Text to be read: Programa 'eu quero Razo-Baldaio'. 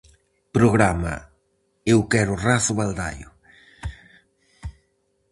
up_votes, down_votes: 4, 0